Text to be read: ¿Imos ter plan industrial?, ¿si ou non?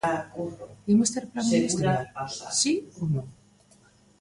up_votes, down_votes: 1, 2